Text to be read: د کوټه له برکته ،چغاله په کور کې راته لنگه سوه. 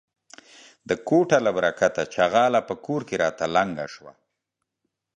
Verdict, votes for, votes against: accepted, 2, 0